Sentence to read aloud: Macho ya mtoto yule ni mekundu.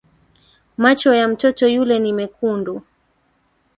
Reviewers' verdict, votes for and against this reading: rejected, 1, 3